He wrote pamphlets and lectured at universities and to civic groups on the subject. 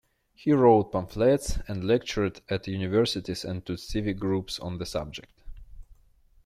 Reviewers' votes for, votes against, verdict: 0, 2, rejected